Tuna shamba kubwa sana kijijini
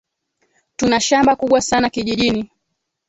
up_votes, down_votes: 2, 1